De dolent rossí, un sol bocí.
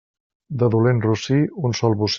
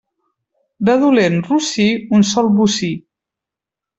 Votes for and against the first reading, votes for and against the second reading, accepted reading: 0, 2, 2, 0, second